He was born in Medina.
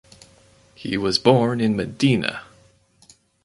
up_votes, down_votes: 4, 0